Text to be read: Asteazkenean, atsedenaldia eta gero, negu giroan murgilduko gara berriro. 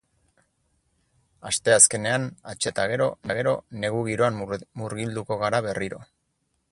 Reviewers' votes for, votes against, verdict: 2, 4, rejected